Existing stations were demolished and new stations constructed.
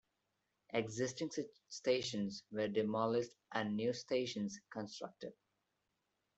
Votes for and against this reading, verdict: 1, 2, rejected